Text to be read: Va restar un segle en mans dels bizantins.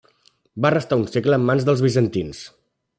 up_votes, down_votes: 3, 1